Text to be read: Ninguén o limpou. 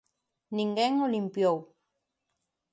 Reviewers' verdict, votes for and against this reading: rejected, 0, 2